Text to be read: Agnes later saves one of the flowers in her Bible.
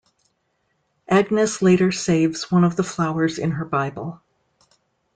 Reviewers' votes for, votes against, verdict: 2, 0, accepted